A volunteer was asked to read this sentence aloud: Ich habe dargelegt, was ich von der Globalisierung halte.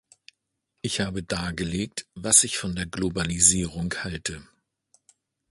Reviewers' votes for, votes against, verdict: 2, 1, accepted